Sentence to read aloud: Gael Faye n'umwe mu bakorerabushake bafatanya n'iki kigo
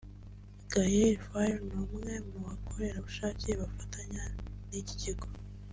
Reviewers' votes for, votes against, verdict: 2, 0, accepted